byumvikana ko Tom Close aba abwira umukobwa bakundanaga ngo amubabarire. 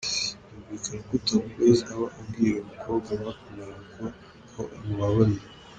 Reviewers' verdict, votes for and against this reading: rejected, 1, 2